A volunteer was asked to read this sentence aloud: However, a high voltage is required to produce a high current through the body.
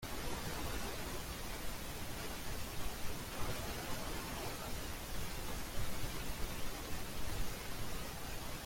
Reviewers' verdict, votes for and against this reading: rejected, 1, 2